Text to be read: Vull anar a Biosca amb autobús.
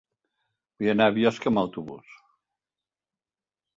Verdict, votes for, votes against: rejected, 1, 2